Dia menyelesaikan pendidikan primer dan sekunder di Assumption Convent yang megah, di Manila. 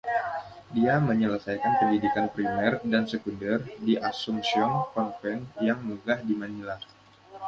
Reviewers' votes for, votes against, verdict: 1, 2, rejected